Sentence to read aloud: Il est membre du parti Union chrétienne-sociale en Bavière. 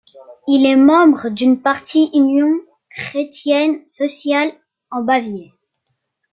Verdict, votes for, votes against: rejected, 1, 3